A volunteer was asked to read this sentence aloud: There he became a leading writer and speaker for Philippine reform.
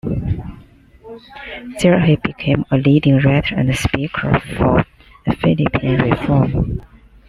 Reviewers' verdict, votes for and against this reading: rejected, 0, 2